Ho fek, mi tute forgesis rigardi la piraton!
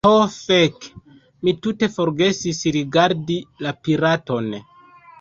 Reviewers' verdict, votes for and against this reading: rejected, 1, 2